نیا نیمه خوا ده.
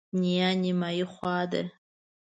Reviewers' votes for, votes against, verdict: 1, 2, rejected